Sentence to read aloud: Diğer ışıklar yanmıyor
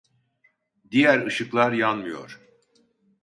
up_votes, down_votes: 2, 0